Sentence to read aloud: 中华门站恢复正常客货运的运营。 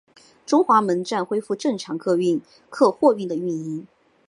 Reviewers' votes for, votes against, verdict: 4, 3, accepted